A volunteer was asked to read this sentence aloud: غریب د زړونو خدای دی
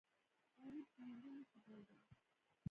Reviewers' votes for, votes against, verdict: 1, 2, rejected